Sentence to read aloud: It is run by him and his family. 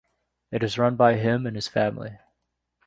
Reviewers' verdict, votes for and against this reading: accepted, 2, 0